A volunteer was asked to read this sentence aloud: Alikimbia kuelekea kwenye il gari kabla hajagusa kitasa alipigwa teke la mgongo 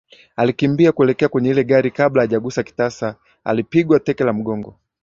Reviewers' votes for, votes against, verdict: 1, 2, rejected